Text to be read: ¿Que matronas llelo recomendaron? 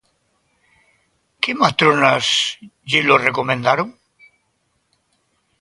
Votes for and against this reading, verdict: 2, 0, accepted